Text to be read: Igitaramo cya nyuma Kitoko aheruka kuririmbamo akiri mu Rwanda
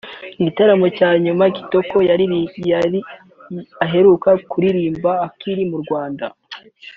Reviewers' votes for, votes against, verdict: 2, 5, rejected